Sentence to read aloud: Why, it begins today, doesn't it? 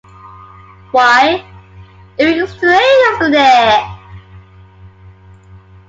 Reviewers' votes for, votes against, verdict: 1, 2, rejected